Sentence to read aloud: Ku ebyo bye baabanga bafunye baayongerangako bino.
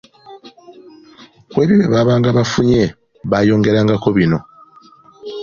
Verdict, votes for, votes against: rejected, 1, 2